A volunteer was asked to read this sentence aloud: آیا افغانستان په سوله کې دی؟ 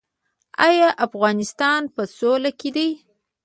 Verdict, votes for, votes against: accepted, 2, 0